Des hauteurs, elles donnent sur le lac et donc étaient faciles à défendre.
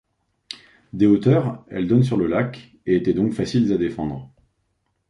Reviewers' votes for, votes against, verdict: 0, 2, rejected